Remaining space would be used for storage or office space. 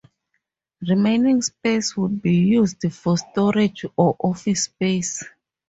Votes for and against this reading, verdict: 4, 0, accepted